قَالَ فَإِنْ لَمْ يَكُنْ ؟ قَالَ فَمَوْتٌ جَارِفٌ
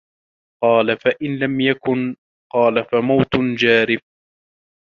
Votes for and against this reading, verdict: 2, 0, accepted